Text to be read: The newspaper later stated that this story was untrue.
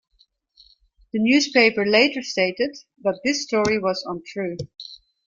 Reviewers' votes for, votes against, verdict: 2, 0, accepted